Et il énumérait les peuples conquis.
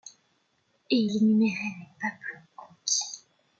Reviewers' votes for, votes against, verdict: 1, 2, rejected